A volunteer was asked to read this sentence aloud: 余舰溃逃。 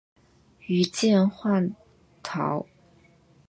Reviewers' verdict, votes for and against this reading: rejected, 1, 2